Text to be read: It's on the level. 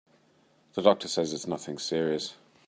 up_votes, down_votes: 0, 3